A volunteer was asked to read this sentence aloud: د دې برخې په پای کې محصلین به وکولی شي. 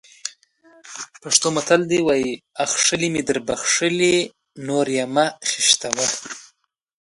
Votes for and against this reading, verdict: 0, 2, rejected